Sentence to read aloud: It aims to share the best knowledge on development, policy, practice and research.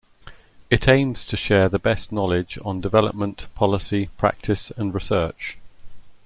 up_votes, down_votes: 2, 0